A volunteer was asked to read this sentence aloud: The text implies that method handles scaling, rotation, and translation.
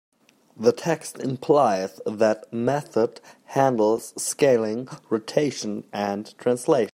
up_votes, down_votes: 0, 2